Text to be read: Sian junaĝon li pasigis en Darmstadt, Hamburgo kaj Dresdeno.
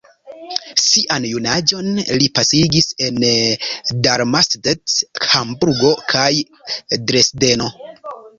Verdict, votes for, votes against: rejected, 1, 2